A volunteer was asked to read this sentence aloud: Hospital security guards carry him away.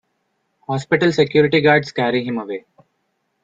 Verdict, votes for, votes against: accepted, 2, 1